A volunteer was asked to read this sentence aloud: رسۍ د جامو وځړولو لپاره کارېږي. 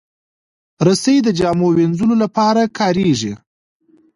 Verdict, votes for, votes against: rejected, 1, 2